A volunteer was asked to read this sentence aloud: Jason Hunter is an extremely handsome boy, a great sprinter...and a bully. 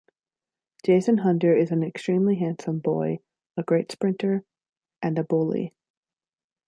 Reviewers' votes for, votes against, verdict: 2, 0, accepted